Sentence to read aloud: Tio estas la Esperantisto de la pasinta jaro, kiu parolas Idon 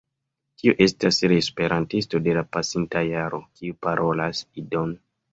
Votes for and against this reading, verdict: 1, 2, rejected